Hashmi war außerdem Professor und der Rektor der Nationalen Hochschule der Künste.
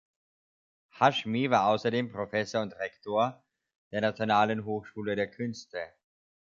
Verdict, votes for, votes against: rejected, 1, 3